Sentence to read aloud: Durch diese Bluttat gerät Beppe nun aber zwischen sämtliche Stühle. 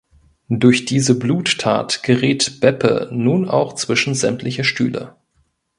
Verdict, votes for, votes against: rejected, 1, 3